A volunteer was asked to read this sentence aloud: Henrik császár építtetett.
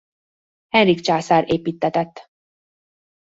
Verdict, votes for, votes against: accepted, 2, 0